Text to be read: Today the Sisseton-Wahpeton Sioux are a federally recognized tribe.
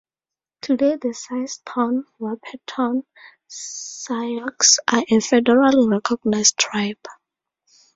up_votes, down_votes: 2, 2